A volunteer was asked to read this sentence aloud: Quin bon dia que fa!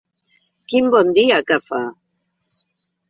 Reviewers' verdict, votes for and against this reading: accepted, 2, 0